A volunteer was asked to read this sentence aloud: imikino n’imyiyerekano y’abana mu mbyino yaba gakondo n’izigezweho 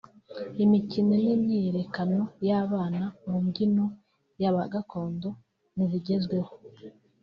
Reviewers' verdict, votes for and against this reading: rejected, 1, 3